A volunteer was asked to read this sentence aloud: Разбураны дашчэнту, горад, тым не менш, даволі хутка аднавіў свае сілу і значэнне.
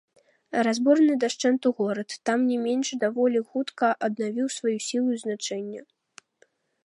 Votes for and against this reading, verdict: 0, 2, rejected